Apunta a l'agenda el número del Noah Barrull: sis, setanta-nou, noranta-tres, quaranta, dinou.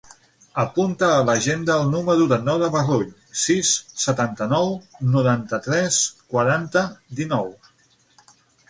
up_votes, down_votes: 0, 6